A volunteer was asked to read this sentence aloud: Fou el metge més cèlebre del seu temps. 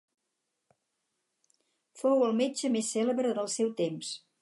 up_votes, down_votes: 4, 0